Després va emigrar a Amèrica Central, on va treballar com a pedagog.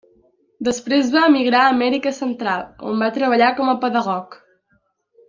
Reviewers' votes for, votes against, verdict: 3, 0, accepted